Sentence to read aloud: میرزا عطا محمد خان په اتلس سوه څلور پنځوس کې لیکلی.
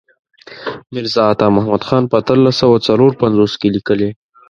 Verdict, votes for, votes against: accepted, 2, 0